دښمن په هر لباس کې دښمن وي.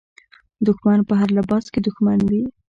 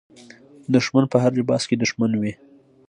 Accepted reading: second